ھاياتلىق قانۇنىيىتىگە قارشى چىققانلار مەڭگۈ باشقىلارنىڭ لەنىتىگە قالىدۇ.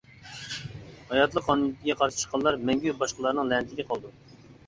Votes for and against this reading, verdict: 1, 2, rejected